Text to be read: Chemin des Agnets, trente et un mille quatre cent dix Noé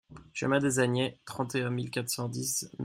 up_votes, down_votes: 0, 2